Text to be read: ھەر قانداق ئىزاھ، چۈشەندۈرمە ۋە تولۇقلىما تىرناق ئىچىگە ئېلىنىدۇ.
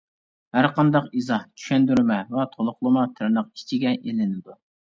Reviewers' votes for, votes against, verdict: 2, 0, accepted